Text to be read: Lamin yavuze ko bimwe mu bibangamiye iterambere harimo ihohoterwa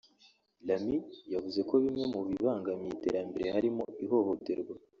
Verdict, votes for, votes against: accepted, 3, 1